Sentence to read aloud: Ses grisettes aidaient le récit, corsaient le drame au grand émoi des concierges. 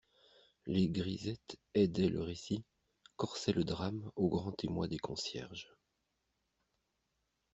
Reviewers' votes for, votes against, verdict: 1, 2, rejected